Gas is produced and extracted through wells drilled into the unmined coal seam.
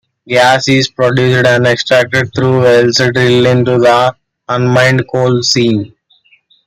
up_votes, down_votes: 2, 1